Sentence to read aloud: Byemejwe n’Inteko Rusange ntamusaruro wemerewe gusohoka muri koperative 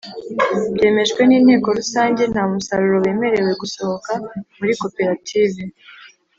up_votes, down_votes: 2, 0